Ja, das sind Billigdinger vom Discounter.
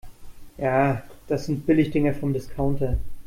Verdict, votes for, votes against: accepted, 2, 0